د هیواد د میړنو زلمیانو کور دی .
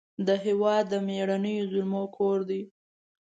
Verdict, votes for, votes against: rejected, 0, 2